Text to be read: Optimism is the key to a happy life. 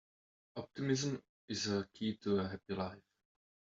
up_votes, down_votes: 2, 1